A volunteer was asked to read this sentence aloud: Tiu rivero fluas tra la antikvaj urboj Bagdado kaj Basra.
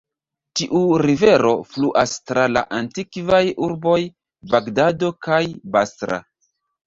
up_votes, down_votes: 1, 2